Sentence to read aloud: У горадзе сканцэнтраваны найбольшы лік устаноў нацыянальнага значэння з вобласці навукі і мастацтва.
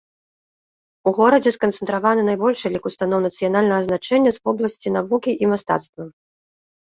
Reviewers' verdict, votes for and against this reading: accepted, 2, 0